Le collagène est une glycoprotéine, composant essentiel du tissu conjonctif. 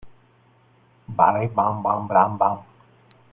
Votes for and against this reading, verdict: 0, 2, rejected